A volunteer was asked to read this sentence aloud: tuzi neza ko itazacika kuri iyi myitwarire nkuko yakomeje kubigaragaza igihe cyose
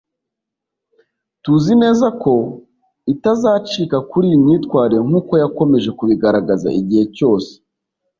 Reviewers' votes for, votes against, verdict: 2, 0, accepted